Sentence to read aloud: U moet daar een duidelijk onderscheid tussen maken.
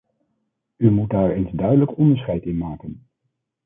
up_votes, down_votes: 1, 3